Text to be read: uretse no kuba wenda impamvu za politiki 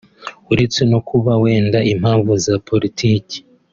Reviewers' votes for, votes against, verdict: 2, 0, accepted